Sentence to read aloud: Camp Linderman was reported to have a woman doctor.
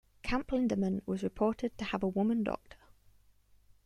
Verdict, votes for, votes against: rejected, 0, 2